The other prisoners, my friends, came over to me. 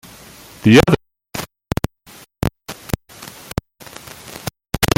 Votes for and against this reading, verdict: 0, 2, rejected